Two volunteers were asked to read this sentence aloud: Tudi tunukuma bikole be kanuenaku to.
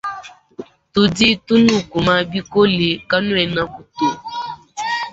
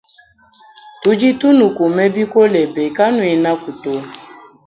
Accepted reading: second